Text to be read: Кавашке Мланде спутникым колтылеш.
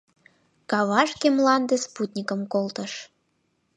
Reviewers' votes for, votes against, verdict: 1, 4, rejected